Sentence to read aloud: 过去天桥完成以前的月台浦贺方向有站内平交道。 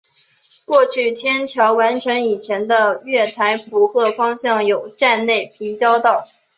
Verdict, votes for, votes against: accepted, 4, 1